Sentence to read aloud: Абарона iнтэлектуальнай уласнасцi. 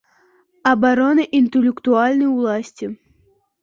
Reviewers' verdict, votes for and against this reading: rejected, 0, 2